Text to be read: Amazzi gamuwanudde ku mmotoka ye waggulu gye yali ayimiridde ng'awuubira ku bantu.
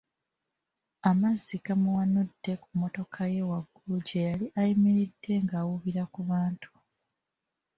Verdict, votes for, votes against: accepted, 2, 0